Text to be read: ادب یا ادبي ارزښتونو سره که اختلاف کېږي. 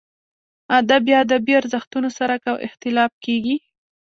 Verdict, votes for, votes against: accepted, 2, 0